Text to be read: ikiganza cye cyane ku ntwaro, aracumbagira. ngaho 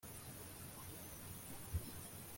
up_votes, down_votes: 0, 2